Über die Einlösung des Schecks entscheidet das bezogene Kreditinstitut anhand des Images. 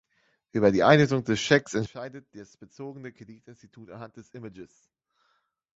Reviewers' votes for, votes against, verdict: 0, 2, rejected